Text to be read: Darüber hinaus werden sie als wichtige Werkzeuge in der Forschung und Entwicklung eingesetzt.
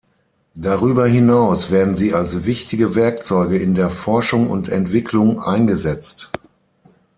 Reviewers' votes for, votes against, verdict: 6, 0, accepted